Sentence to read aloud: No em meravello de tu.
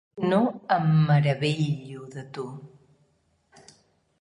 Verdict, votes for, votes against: rejected, 1, 4